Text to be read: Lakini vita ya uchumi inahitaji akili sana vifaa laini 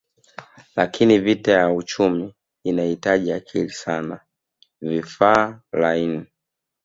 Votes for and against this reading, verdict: 2, 0, accepted